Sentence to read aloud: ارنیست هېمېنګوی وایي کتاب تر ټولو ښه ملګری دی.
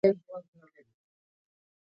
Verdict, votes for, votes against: rejected, 0, 2